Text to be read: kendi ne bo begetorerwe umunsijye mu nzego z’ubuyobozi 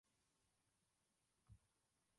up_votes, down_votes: 0, 2